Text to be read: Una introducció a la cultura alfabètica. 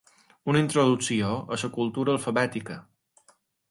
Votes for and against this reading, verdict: 2, 0, accepted